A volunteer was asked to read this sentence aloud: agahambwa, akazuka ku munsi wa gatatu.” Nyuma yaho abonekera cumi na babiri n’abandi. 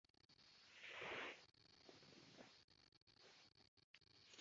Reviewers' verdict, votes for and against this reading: rejected, 0, 2